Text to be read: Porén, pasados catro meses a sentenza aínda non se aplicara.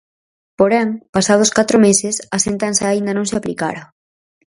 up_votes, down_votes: 4, 0